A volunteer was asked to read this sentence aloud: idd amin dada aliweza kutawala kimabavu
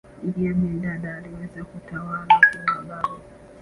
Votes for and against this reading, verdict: 1, 3, rejected